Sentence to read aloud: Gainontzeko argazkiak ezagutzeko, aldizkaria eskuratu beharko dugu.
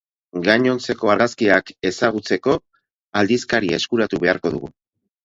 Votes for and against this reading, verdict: 2, 4, rejected